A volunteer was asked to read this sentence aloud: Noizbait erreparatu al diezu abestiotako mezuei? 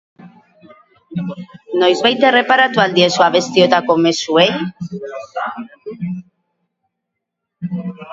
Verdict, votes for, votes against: rejected, 2, 4